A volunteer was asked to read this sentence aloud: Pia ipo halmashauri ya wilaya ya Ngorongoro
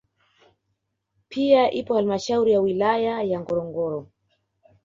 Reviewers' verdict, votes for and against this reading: accepted, 2, 0